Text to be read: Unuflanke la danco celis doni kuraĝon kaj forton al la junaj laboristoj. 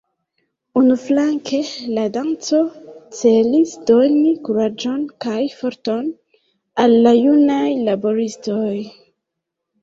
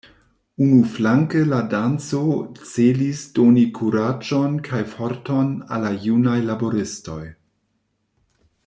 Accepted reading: second